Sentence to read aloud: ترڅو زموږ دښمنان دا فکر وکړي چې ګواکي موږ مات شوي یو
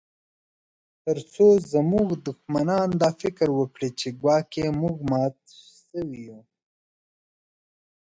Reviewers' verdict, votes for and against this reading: rejected, 0, 2